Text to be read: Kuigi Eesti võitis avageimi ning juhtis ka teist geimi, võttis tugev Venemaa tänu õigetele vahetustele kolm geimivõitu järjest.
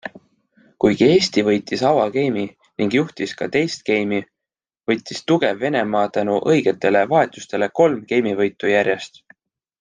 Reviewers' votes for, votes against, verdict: 2, 0, accepted